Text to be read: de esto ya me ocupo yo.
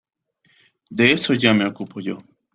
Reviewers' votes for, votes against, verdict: 1, 2, rejected